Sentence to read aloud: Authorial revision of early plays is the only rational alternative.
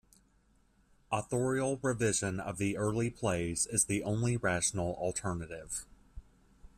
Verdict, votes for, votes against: rejected, 1, 2